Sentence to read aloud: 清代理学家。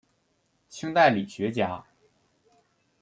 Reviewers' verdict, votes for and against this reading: accepted, 2, 0